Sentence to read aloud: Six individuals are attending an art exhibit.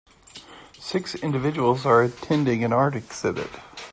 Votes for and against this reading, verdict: 2, 0, accepted